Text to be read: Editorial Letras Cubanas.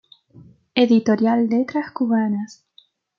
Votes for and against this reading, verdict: 2, 0, accepted